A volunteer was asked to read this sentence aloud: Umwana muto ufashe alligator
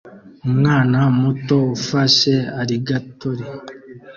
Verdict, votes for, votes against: accepted, 2, 0